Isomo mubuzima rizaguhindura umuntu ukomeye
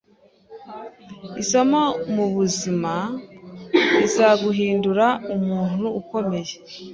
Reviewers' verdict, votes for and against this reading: accepted, 2, 0